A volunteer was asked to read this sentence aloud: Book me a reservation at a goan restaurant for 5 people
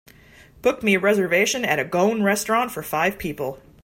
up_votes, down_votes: 0, 2